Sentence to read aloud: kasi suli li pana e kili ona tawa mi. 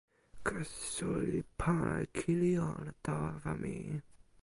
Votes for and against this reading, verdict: 1, 2, rejected